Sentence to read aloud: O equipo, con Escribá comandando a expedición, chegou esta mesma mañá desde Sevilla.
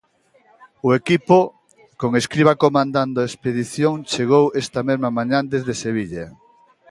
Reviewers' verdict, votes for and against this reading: rejected, 0, 2